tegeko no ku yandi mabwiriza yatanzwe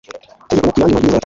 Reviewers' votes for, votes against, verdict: 1, 2, rejected